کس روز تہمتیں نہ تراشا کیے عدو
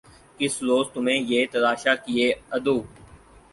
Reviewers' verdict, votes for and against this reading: rejected, 2, 4